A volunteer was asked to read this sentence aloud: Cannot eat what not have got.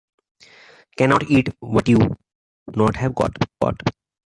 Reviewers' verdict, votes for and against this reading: rejected, 1, 2